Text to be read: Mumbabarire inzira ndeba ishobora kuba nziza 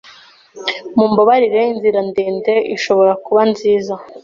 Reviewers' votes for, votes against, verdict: 1, 2, rejected